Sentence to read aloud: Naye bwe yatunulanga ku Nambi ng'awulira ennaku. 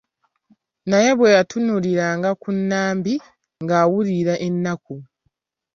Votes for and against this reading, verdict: 1, 2, rejected